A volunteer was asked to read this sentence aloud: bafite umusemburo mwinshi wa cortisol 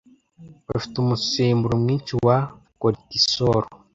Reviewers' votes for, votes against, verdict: 1, 2, rejected